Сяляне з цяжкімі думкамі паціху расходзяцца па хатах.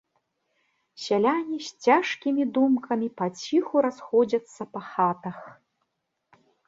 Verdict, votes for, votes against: accepted, 2, 0